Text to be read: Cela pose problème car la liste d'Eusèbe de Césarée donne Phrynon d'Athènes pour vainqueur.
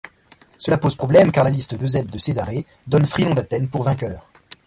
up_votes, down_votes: 1, 2